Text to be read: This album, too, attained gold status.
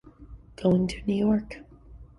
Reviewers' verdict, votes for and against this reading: rejected, 0, 2